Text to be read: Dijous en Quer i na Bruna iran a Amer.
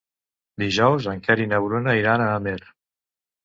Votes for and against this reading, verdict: 2, 0, accepted